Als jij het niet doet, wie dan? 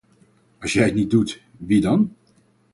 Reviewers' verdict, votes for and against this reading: accepted, 4, 0